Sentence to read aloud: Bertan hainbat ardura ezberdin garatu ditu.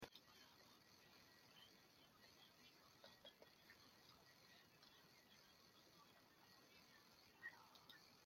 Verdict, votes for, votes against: rejected, 0, 2